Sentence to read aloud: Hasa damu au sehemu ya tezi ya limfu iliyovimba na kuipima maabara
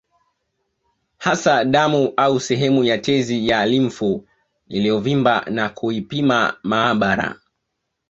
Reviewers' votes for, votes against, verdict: 2, 0, accepted